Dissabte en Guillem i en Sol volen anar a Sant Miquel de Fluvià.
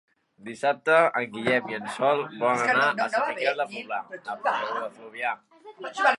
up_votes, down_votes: 0, 3